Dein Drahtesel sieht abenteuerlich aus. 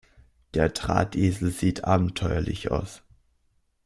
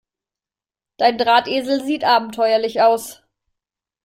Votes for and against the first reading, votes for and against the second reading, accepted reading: 1, 2, 2, 0, second